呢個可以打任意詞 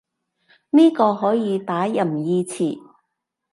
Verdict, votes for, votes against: accepted, 2, 0